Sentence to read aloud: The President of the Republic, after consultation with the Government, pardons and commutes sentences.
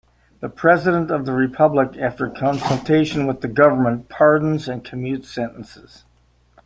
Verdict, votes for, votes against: accepted, 2, 1